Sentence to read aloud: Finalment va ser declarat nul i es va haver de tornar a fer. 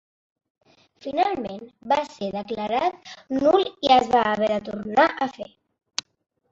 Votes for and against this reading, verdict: 1, 2, rejected